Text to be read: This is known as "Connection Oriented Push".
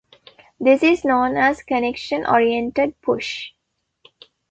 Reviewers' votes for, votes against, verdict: 2, 0, accepted